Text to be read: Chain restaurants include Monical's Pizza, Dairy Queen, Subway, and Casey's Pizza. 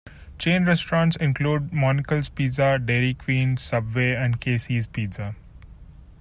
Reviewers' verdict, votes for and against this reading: accepted, 2, 0